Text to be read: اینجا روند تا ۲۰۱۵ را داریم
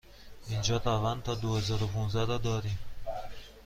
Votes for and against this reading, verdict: 0, 2, rejected